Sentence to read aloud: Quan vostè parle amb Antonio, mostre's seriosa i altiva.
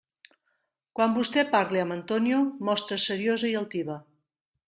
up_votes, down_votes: 2, 0